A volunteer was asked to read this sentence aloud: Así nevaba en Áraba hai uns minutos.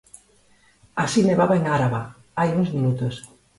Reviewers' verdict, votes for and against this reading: rejected, 1, 2